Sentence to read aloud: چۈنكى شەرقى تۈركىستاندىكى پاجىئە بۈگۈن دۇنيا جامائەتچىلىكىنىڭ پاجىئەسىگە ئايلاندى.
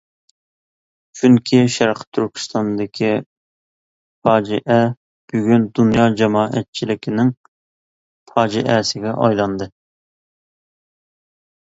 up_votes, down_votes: 2, 0